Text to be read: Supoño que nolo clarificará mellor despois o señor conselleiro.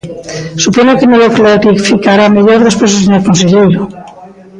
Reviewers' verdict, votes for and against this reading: rejected, 1, 2